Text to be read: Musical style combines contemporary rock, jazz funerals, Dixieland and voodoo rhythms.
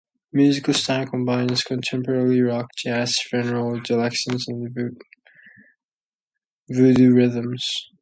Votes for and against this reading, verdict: 2, 0, accepted